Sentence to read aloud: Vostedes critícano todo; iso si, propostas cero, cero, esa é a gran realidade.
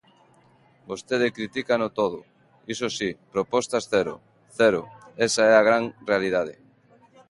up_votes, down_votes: 0, 2